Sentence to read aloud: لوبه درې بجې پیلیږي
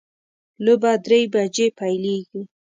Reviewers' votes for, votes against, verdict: 2, 0, accepted